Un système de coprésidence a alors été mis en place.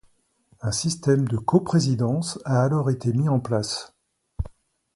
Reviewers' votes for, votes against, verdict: 2, 0, accepted